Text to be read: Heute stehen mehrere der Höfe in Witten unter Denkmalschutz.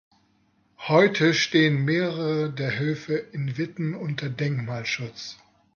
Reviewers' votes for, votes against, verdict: 2, 0, accepted